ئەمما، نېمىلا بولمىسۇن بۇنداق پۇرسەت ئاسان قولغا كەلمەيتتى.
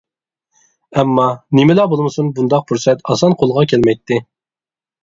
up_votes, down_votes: 2, 0